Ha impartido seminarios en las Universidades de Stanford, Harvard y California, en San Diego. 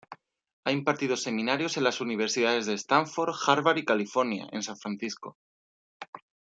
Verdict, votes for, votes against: rejected, 1, 2